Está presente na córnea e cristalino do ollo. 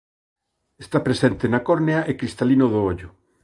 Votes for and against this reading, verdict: 2, 0, accepted